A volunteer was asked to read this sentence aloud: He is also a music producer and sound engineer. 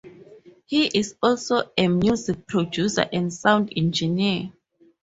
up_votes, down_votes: 4, 0